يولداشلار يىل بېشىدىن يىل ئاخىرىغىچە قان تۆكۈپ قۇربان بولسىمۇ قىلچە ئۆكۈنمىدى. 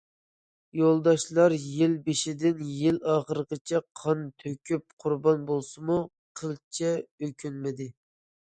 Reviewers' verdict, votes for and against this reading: accepted, 2, 0